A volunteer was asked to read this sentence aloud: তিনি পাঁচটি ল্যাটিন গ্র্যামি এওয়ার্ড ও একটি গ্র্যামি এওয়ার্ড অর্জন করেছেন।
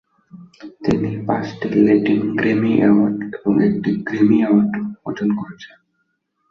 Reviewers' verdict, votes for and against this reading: rejected, 0, 2